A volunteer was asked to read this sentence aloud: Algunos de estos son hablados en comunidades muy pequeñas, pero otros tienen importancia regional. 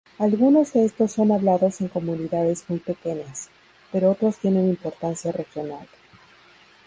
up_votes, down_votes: 2, 2